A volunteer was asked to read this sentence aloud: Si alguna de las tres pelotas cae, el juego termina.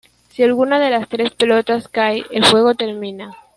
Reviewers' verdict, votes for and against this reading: accepted, 2, 1